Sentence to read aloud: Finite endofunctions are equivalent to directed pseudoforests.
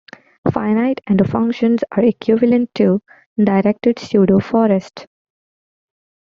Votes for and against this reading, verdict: 0, 2, rejected